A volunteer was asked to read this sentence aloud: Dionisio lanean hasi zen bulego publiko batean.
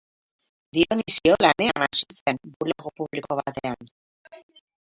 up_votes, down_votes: 0, 4